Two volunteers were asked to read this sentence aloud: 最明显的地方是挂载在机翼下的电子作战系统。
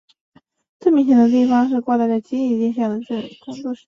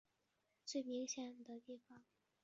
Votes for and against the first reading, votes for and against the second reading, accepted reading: 4, 2, 1, 5, first